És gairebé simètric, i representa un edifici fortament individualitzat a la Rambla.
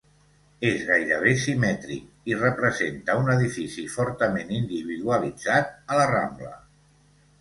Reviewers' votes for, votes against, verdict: 2, 0, accepted